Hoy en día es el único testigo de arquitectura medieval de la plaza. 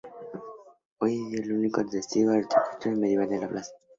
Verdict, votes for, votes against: accepted, 2, 0